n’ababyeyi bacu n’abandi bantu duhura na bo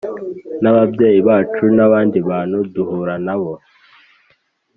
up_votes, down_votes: 2, 0